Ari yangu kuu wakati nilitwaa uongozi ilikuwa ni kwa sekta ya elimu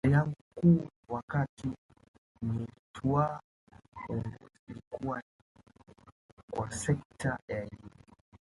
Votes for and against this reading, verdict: 0, 2, rejected